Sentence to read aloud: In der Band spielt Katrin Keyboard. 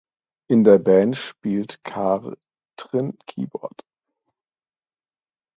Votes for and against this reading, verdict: 0, 2, rejected